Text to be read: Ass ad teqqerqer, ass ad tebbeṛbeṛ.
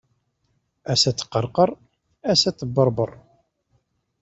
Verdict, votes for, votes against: accepted, 2, 0